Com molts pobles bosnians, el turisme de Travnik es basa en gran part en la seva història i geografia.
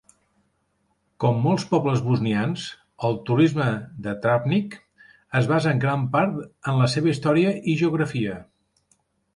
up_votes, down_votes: 2, 0